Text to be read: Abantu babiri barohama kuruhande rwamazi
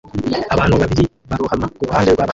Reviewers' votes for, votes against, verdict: 0, 2, rejected